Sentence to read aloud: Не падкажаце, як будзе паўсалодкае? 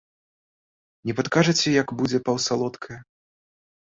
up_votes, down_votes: 3, 1